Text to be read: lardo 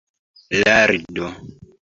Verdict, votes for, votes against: accepted, 2, 1